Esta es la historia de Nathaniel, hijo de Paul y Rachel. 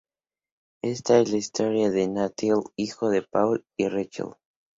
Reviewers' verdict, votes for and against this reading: accepted, 2, 0